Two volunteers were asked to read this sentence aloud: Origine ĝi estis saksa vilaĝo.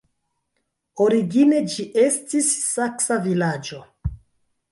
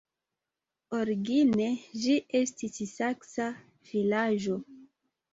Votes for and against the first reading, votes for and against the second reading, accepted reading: 1, 3, 2, 1, second